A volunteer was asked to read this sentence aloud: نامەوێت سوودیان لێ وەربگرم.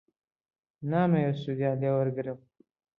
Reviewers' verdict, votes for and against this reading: rejected, 1, 2